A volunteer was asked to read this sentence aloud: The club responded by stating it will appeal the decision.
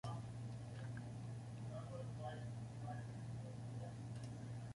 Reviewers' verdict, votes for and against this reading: rejected, 0, 2